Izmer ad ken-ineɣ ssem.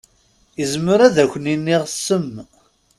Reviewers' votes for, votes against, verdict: 1, 2, rejected